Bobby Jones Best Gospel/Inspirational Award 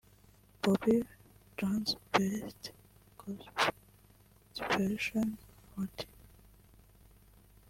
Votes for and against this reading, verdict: 0, 2, rejected